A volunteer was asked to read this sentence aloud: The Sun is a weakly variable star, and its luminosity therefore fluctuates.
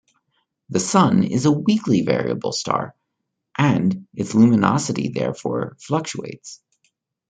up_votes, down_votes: 3, 0